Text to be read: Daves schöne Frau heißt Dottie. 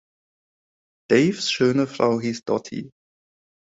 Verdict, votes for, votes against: rejected, 0, 2